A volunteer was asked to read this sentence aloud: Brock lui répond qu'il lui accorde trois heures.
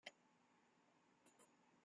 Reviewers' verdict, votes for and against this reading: rejected, 0, 2